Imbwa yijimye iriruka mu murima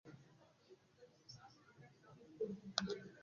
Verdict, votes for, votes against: rejected, 0, 3